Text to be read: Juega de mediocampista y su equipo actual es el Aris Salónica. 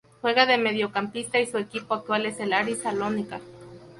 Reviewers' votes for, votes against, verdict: 0, 2, rejected